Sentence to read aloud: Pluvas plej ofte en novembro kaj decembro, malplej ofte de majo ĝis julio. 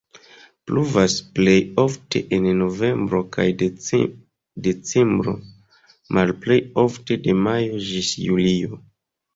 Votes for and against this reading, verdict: 0, 2, rejected